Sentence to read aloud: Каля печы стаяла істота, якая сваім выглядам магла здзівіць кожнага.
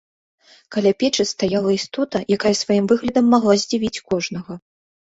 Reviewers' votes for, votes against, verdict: 2, 0, accepted